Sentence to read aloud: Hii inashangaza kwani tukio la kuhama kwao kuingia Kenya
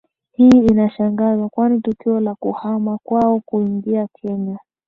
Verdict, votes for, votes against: rejected, 0, 2